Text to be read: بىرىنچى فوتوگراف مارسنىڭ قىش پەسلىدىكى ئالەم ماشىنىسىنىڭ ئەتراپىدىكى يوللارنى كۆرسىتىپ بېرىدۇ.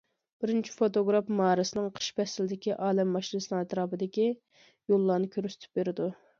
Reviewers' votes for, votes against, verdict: 2, 0, accepted